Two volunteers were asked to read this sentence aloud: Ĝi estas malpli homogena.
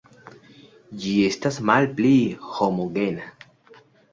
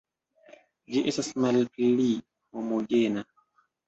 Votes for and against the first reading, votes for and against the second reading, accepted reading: 2, 0, 1, 2, first